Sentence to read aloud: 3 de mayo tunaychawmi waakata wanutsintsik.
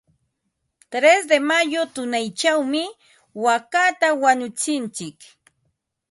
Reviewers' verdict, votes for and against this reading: rejected, 0, 2